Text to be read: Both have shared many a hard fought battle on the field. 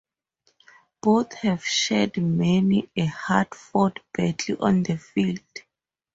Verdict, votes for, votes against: accepted, 2, 0